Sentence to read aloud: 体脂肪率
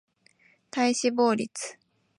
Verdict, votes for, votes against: accepted, 4, 0